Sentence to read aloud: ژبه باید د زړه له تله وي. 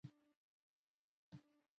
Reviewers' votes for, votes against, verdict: 0, 2, rejected